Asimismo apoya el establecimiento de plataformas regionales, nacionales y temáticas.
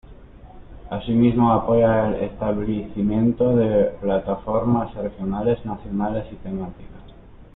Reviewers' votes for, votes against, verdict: 1, 2, rejected